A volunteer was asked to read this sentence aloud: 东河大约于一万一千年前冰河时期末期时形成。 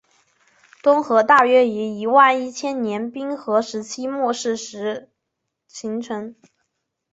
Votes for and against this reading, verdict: 2, 3, rejected